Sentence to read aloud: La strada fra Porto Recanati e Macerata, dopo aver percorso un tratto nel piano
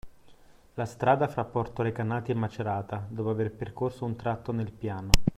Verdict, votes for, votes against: accepted, 2, 0